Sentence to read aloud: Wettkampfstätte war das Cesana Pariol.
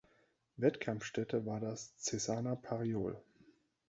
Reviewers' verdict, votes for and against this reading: accepted, 2, 0